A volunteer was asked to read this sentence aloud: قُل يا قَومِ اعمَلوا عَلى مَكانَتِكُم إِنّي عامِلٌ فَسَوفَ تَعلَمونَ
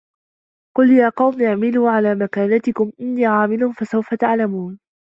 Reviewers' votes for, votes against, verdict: 1, 2, rejected